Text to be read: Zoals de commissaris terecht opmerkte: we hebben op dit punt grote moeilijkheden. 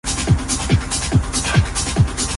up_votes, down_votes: 0, 2